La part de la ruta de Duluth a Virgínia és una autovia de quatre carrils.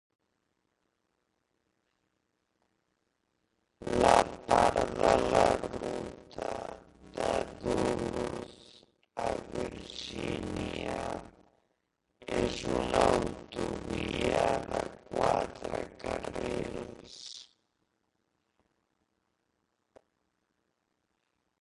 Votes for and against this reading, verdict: 0, 4, rejected